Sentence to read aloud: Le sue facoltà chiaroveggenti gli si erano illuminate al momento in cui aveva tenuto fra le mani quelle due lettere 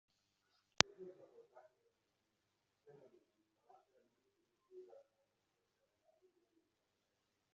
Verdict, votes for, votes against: rejected, 0, 2